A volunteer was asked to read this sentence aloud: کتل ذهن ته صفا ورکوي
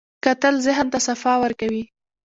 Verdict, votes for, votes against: accepted, 2, 0